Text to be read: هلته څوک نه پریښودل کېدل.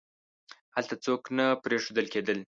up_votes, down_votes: 2, 0